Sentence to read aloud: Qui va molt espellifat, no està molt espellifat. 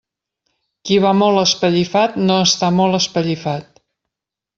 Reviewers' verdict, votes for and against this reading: accepted, 2, 0